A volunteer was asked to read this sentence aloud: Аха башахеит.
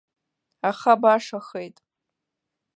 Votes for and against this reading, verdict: 2, 0, accepted